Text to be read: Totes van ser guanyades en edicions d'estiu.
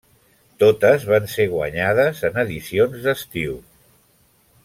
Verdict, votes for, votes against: accepted, 3, 0